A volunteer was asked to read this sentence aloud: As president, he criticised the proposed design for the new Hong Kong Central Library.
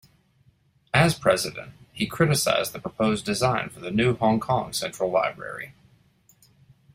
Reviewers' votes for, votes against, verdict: 2, 0, accepted